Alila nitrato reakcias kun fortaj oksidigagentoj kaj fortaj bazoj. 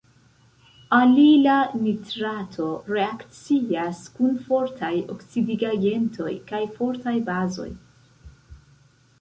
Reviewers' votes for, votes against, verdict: 2, 0, accepted